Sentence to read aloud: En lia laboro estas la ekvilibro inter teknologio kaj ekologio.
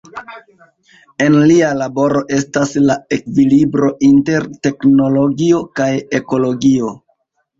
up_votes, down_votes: 1, 2